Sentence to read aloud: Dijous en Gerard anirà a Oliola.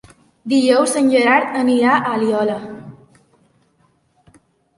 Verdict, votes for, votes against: rejected, 1, 2